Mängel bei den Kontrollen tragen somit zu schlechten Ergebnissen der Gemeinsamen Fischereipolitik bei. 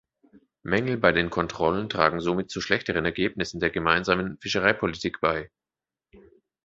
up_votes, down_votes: 0, 2